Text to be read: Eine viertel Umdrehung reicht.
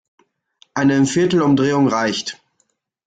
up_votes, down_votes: 1, 2